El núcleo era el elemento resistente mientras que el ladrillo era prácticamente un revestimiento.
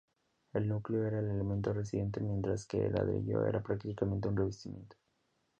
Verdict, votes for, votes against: rejected, 0, 2